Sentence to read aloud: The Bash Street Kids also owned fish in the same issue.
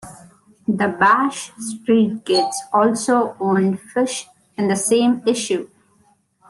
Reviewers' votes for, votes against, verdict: 1, 2, rejected